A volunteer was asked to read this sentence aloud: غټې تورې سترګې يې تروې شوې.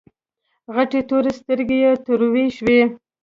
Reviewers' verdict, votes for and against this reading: accepted, 2, 0